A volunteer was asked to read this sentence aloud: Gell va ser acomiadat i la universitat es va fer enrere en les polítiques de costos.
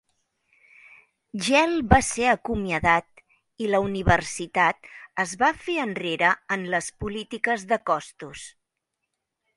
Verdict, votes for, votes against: accepted, 2, 0